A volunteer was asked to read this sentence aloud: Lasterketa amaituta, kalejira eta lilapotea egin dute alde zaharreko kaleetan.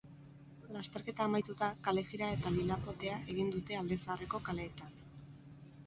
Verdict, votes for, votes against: accepted, 4, 0